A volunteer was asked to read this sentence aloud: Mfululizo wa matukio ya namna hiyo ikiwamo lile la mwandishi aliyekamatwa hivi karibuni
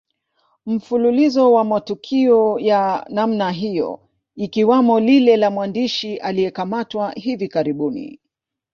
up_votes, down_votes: 1, 2